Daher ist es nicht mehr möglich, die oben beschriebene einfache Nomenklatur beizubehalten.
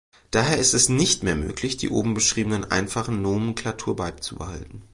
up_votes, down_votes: 1, 2